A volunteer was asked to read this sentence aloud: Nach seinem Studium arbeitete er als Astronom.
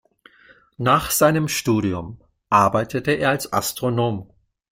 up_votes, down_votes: 2, 0